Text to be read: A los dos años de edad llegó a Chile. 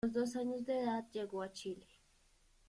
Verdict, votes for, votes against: rejected, 1, 2